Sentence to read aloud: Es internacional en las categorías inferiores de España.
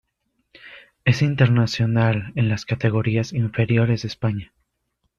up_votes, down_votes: 1, 2